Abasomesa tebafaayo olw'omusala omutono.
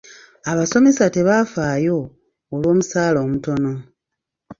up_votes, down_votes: 2, 0